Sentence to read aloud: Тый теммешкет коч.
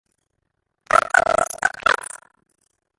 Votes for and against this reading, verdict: 0, 2, rejected